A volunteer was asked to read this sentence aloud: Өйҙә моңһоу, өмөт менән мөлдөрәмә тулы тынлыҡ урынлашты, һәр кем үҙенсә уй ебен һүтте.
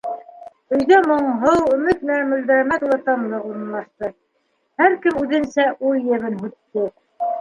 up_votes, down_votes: 0, 2